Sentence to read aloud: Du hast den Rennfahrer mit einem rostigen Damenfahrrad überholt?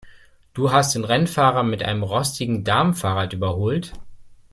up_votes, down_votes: 2, 0